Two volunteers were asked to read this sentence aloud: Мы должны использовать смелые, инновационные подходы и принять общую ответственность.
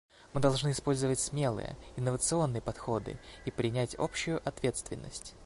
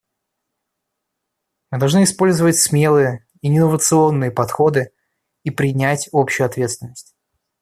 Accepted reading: first